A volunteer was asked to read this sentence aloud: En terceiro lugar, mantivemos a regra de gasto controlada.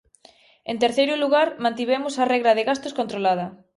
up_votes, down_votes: 0, 2